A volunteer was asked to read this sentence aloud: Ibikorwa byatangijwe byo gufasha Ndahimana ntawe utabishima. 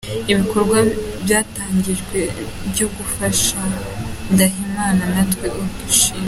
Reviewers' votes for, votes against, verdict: 1, 2, rejected